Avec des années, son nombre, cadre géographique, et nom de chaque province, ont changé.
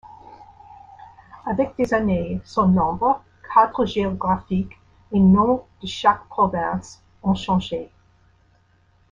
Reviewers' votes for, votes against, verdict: 2, 1, accepted